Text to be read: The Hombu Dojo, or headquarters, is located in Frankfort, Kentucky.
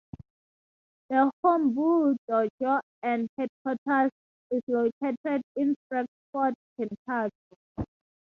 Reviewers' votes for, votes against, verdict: 0, 2, rejected